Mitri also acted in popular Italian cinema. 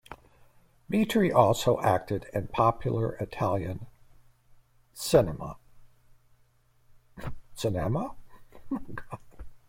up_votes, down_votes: 1, 2